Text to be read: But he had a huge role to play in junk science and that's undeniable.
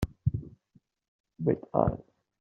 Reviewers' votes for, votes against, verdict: 0, 2, rejected